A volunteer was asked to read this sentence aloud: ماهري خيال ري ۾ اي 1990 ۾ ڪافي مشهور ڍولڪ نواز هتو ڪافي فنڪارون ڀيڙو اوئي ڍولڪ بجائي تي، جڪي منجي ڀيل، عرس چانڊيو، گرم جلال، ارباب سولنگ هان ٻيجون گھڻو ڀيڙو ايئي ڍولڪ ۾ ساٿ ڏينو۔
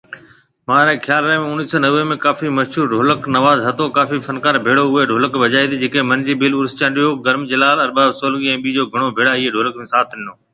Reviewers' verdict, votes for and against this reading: rejected, 0, 2